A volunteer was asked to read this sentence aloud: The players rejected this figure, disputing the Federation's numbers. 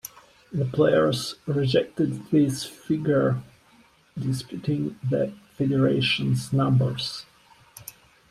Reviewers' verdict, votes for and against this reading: accepted, 2, 1